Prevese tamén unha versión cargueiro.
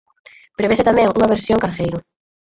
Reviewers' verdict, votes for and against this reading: rejected, 2, 4